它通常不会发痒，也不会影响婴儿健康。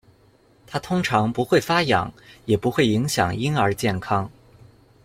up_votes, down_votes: 2, 0